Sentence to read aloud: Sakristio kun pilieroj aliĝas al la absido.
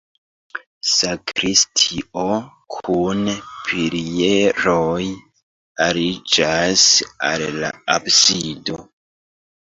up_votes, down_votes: 0, 2